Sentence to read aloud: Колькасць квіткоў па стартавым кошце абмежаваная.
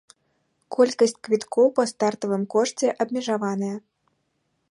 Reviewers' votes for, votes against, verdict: 2, 0, accepted